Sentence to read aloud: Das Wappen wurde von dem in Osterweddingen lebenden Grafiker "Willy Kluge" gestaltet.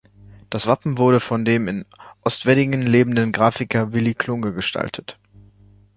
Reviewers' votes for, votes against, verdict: 0, 2, rejected